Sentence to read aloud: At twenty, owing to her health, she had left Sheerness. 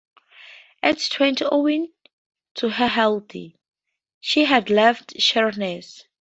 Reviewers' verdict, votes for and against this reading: rejected, 0, 2